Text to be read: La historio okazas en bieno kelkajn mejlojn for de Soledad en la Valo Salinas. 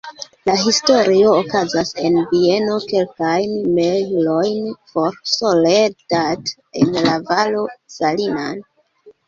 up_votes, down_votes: 0, 2